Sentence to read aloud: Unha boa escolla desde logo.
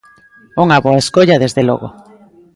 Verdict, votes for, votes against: accepted, 2, 0